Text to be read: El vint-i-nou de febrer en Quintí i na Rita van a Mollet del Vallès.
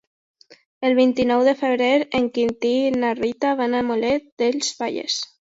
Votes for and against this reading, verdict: 0, 2, rejected